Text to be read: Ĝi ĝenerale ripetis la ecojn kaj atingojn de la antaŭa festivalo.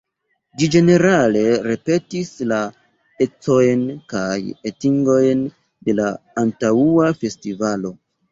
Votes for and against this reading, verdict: 1, 2, rejected